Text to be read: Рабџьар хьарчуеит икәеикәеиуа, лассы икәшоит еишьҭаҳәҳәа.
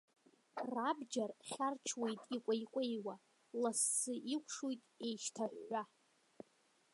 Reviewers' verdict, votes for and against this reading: rejected, 0, 2